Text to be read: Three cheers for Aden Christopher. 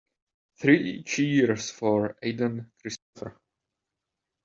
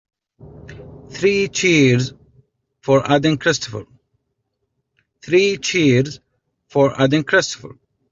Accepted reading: first